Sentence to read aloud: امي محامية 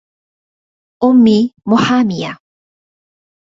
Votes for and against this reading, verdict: 2, 0, accepted